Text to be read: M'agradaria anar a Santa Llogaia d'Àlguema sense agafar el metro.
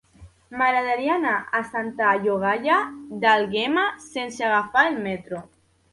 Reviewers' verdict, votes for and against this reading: rejected, 1, 2